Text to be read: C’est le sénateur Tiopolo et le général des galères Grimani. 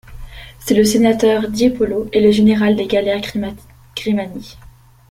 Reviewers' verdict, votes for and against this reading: rejected, 0, 2